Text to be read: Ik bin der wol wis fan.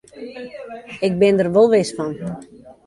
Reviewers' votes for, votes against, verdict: 0, 2, rejected